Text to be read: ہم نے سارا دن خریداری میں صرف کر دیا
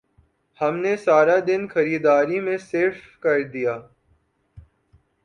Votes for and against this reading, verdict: 1, 2, rejected